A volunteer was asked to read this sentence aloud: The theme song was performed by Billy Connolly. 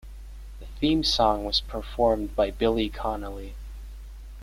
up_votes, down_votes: 1, 2